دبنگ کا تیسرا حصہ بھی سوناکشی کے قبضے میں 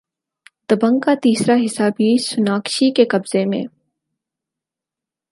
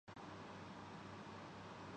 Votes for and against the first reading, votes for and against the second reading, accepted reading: 6, 0, 0, 2, first